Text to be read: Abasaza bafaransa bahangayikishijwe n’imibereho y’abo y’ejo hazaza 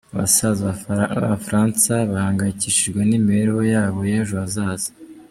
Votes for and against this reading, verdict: 0, 2, rejected